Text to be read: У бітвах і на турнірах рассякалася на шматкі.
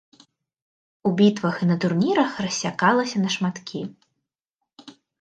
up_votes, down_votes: 2, 0